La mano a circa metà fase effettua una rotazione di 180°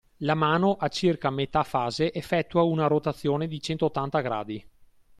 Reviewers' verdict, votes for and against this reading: rejected, 0, 2